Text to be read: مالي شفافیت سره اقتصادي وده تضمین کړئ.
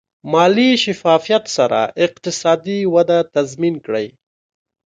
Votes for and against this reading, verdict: 3, 0, accepted